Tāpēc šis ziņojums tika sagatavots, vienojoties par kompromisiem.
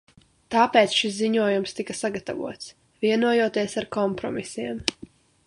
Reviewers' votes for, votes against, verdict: 0, 2, rejected